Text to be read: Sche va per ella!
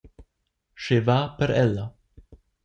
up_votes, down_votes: 2, 0